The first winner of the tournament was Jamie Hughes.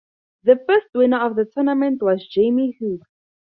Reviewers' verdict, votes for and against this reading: accepted, 4, 0